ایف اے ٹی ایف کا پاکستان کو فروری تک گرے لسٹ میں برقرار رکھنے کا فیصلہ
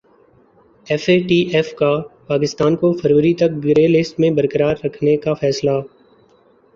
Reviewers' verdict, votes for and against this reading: accepted, 3, 0